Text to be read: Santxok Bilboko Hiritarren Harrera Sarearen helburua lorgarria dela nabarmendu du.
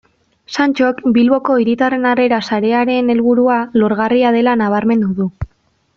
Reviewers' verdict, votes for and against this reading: accepted, 2, 0